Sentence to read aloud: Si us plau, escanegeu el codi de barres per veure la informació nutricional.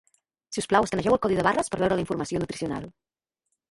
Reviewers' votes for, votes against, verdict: 1, 2, rejected